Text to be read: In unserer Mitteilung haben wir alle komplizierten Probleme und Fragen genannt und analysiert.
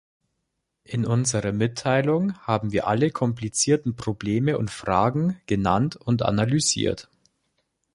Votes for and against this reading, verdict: 2, 0, accepted